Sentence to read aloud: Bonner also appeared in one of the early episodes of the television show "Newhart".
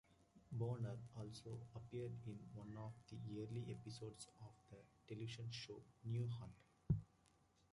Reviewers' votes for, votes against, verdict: 1, 2, rejected